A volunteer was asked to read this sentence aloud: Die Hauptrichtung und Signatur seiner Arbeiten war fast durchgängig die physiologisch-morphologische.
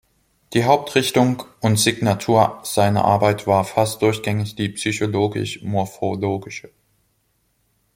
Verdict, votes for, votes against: rejected, 0, 3